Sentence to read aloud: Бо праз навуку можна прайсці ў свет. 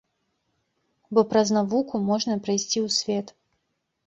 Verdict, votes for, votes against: accepted, 2, 0